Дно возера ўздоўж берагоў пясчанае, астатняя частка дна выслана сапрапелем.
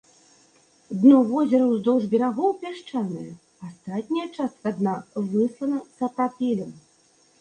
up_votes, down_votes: 2, 0